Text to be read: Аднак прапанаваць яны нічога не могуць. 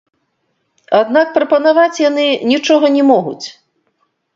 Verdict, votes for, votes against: rejected, 0, 2